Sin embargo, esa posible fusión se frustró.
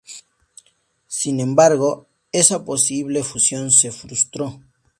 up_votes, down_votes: 4, 0